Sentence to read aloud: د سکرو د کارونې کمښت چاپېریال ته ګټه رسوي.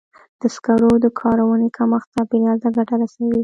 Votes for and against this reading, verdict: 2, 0, accepted